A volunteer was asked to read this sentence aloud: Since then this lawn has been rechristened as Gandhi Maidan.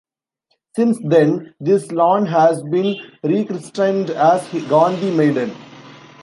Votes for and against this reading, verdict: 1, 2, rejected